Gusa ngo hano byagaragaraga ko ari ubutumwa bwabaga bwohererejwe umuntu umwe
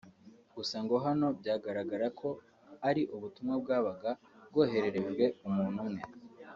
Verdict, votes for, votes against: accepted, 2, 0